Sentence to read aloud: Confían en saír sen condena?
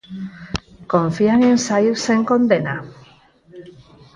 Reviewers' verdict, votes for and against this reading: accepted, 4, 2